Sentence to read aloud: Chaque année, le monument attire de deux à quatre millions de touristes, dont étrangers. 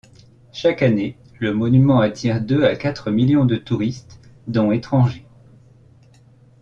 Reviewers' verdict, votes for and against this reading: rejected, 0, 2